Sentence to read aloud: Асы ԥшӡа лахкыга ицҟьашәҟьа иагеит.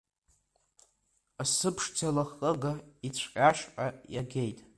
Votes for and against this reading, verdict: 2, 1, accepted